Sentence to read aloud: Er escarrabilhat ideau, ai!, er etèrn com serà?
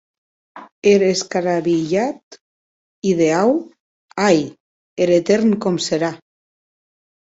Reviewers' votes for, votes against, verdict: 0, 2, rejected